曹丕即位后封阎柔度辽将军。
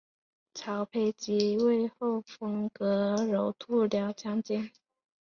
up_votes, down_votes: 2, 0